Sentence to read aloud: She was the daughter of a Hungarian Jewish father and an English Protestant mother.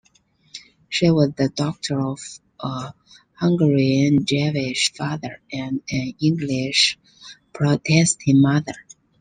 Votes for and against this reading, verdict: 2, 1, accepted